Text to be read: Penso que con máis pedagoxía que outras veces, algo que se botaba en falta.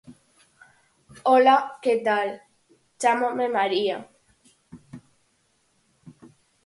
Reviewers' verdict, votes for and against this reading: rejected, 0, 6